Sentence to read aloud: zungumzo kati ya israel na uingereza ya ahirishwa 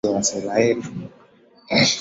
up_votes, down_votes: 0, 2